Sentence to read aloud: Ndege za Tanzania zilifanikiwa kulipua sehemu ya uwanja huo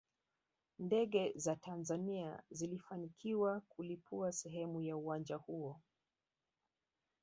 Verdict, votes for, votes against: rejected, 1, 2